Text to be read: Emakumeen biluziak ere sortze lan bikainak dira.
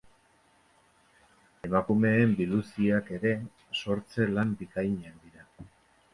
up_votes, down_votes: 1, 2